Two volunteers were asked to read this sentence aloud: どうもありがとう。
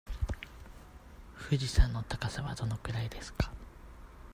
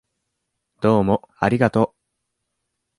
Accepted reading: second